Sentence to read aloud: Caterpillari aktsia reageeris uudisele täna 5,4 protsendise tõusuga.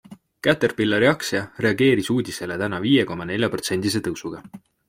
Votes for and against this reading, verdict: 0, 2, rejected